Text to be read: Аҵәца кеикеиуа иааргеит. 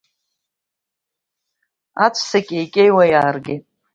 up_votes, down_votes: 2, 0